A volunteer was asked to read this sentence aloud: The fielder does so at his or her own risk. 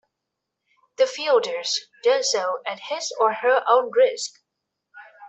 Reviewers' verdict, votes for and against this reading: rejected, 0, 2